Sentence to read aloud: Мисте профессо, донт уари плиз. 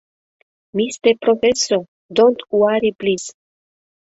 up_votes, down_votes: 2, 0